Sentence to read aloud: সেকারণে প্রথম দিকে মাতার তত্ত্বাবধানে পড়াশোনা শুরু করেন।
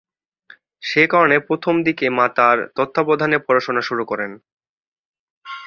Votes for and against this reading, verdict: 4, 0, accepted